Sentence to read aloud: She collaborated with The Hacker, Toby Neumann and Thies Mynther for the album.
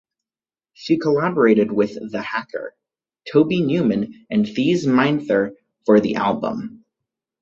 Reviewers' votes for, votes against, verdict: 2, 2, rejected